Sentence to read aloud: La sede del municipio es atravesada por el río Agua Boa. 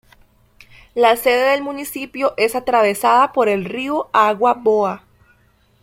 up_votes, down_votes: 2, 0